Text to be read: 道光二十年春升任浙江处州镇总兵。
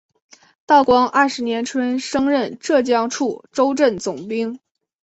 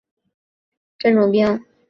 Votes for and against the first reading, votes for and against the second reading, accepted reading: 2, 0, 0, 2, first